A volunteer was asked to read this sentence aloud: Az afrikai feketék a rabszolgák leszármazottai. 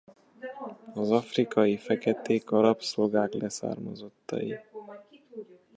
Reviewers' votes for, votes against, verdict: 1, 2, rejected